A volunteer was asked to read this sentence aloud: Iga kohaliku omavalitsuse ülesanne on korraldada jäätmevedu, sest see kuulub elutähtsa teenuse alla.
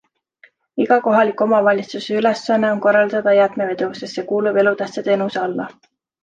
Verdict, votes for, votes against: accepted, 2, 0